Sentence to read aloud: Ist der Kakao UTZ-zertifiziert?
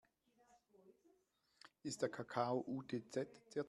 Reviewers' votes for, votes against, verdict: 0, 2, rejected